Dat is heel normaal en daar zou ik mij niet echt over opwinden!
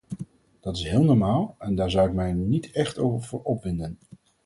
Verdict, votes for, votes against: rejected, 0, 4